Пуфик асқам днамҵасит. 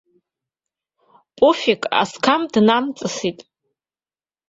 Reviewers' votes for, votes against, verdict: 0, 2, rejected